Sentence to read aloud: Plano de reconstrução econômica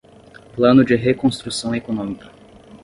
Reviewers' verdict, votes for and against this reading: accepted, 10, 0